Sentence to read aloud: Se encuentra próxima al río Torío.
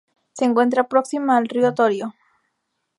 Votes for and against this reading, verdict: 2, 0, accepted